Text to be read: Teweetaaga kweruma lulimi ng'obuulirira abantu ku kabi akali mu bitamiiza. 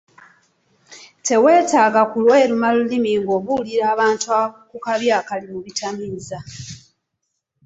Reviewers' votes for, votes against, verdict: 2, 3, rejected